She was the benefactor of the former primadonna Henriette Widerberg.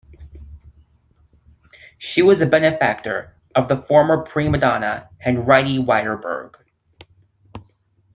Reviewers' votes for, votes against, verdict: 2, 1, accepted